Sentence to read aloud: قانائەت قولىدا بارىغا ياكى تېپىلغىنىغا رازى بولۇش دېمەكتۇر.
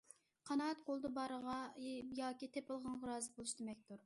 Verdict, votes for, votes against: rejected, 1, 2